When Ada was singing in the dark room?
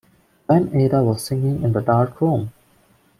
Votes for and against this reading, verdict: 1, 2, rejected